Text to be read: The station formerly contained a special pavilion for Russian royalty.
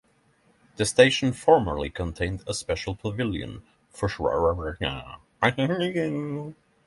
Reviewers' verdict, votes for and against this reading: rejected, 0, 3